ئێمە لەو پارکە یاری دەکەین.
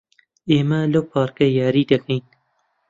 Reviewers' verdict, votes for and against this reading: accepted, 2, 0